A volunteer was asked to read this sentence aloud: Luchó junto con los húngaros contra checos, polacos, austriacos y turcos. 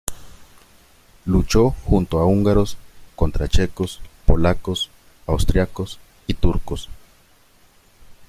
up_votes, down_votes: 0, 2